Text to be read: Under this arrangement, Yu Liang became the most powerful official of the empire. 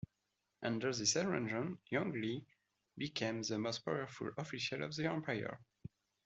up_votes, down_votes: 1, 2